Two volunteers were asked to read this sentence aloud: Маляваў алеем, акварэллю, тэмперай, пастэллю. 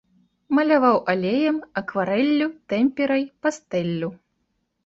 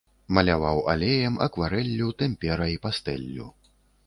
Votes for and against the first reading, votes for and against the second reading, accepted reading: 2, 1, 0, 2, first